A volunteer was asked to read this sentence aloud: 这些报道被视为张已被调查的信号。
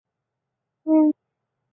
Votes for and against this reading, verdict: 0, 2, rejected